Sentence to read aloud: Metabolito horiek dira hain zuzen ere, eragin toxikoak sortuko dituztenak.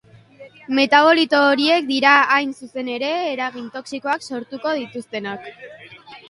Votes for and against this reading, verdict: 4, 0, accepted